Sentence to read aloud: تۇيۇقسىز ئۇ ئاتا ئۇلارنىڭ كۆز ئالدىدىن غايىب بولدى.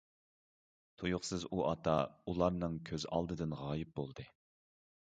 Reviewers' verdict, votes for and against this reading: accepted, 2, 0